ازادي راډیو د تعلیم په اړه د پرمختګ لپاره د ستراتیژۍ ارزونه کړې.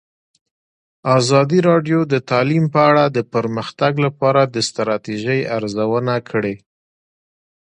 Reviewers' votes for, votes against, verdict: 2, 1, accepted